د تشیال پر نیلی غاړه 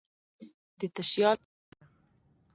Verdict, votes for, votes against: rejected, 1, 2